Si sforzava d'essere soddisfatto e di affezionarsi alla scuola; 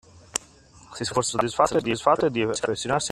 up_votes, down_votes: 0, 2